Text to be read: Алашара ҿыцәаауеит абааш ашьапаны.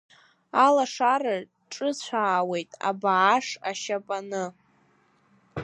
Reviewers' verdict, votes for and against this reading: accepted, 2, 0